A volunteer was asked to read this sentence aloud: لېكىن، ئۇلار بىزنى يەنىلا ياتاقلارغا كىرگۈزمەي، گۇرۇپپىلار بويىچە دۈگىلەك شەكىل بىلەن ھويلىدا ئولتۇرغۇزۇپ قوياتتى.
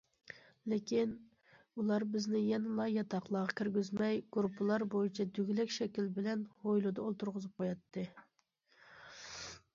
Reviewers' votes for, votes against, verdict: 2, 0, accepted